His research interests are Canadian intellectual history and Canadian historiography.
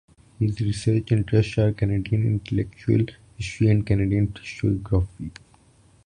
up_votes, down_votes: 1, 2